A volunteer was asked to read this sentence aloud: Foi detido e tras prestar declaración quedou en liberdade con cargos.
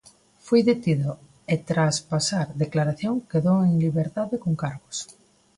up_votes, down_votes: 0, 2